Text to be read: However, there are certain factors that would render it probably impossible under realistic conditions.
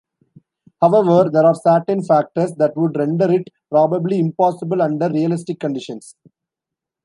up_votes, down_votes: 1, 2